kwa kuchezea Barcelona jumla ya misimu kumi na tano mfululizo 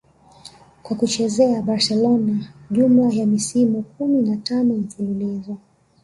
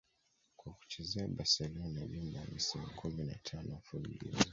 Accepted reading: first